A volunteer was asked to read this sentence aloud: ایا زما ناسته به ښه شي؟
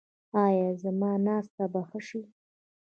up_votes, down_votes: 0, 2